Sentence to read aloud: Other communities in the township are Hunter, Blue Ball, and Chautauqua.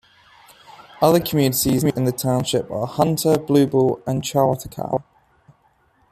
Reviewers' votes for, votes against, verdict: 1, 2, rejected